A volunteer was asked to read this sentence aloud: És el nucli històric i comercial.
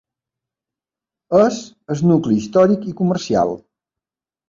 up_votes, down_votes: 1, 2